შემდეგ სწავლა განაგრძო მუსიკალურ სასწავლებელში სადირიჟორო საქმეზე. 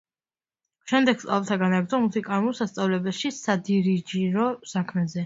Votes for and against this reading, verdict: 0, 2, rejected